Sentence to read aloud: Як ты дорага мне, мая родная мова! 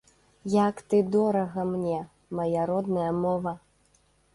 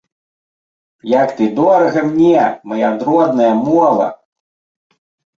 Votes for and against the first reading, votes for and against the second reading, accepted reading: 2, 0, 0, 2, first